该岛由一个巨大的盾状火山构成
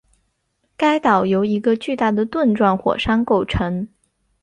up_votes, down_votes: 2, 1